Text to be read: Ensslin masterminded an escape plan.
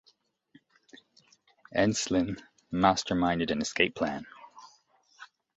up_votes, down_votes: 1, 2